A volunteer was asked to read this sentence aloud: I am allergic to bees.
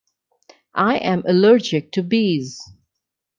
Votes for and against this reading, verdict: 2, 0, accepted